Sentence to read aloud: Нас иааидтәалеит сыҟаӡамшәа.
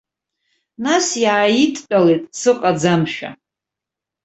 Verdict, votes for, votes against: rejected, 0, 2